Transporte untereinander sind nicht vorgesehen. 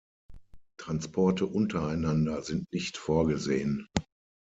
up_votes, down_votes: 6, 0